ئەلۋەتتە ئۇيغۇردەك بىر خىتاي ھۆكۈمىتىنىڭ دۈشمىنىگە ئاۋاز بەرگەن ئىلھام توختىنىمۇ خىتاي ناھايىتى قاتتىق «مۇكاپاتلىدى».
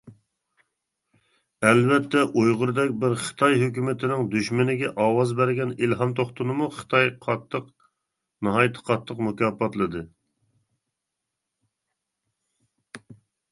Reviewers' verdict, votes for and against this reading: rejected, 1, 2